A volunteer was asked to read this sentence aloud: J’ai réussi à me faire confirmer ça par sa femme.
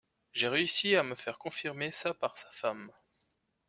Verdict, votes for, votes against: accepted, 2, 0